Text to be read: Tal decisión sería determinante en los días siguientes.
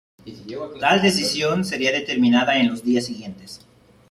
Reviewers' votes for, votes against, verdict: 0, 2, rejected